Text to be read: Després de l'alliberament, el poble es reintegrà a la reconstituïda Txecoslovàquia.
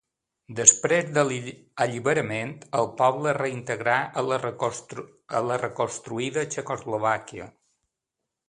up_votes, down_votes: 0, 2